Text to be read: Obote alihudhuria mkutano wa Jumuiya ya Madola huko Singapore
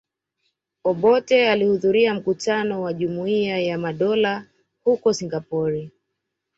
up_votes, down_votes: 2, 0